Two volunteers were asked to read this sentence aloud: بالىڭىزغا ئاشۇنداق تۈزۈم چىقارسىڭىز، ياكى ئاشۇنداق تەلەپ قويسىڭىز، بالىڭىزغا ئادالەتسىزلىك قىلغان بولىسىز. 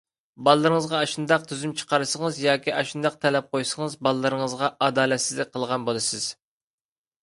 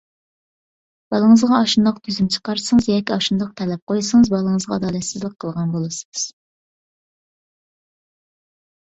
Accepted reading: second